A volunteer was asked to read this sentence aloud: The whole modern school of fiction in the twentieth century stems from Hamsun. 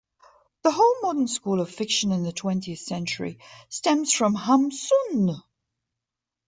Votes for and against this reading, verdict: 2, 1, accepted